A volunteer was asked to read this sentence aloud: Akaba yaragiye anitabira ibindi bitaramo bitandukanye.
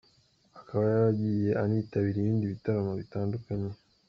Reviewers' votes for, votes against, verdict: 2, 0, accepted